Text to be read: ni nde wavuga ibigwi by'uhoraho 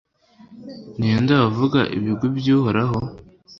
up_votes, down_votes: 2, 0